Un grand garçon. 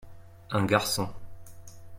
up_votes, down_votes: 1, 2